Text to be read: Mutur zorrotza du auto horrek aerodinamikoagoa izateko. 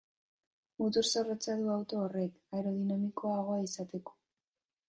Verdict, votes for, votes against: rejected, 1, 2